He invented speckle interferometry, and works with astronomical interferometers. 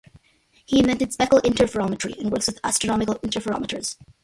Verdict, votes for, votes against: rejected, 0, 2